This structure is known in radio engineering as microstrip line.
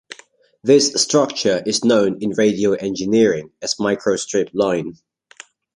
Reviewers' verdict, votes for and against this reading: accepted, 2, 0